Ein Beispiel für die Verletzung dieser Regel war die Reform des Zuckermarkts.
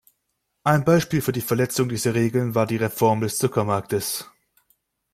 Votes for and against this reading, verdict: 1, 2, rejected